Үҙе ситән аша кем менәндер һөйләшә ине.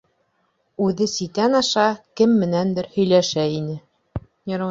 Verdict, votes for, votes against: rejected, 1, 2